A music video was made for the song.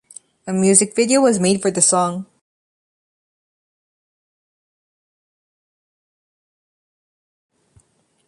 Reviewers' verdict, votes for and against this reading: accepted, 2, 0